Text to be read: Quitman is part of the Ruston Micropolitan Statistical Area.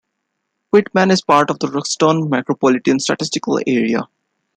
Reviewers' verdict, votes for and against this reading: accepted, 2, 0